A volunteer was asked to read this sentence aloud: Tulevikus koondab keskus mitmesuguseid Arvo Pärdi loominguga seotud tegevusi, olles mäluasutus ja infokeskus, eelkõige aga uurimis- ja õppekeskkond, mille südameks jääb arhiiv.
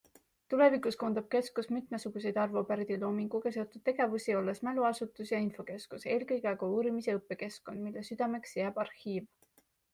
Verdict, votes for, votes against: accepted, 2, 0